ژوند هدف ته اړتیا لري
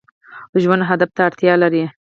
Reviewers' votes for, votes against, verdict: 4, 0, accepted